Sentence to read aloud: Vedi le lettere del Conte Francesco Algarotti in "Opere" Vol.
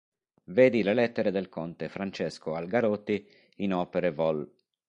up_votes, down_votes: 1, 2